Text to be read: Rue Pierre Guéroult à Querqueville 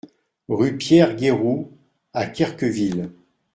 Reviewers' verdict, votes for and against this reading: accepted, 2, 0